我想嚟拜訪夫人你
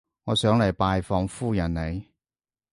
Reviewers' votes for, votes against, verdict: 2, 0, accepted